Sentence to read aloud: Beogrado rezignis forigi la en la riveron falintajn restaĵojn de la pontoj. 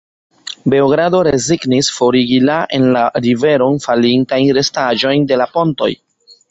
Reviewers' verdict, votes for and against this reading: accepted, 3, 2